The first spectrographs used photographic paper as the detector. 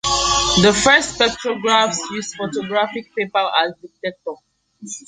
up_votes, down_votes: 0, 2